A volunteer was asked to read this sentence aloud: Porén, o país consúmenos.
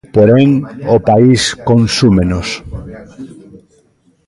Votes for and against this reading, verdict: 2, 0, accepted